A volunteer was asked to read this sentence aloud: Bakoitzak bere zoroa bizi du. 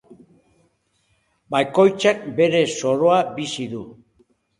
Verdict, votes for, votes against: accepted, 2, 1